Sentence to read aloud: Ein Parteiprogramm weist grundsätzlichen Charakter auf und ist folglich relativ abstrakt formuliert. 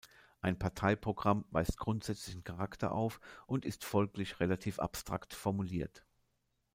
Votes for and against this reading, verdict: 2, 1, accepted